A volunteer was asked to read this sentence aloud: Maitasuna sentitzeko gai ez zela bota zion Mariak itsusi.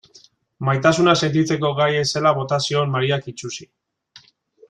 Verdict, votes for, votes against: accepted, 2, 0